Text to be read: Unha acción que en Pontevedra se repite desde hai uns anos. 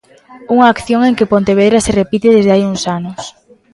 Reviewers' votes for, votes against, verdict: 0, 2, rejected